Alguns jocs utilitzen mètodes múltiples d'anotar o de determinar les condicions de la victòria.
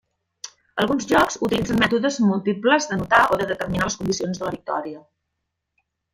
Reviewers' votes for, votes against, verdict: 1, 2, rejected